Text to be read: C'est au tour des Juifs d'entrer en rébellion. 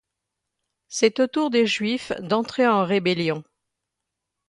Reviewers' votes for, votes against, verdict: 2, 0, accepted